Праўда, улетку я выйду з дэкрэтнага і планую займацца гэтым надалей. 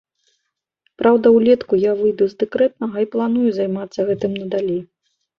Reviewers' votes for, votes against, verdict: 2, 0, accepted